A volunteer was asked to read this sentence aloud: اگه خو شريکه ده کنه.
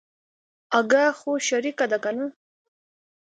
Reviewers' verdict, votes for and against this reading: accepted, 2, 0